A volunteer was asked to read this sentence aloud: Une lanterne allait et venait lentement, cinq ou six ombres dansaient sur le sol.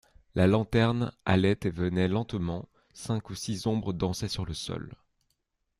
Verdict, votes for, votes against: rejected, 0, 2